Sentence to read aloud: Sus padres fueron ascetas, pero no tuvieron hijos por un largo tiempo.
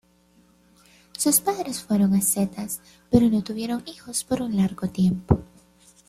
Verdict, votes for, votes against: accepted, 2, 0